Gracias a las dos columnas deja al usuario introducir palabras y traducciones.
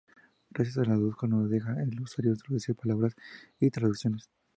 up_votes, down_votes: 0, 2